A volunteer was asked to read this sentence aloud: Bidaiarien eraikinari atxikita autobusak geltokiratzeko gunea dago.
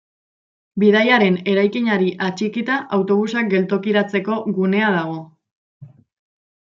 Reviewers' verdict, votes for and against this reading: rejected, 1, 2